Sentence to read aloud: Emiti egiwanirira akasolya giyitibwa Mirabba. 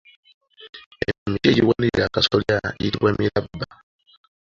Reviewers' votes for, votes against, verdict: 1, 2, rejected